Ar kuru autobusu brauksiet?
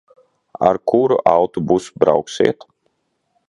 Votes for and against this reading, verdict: 0, 2, rejected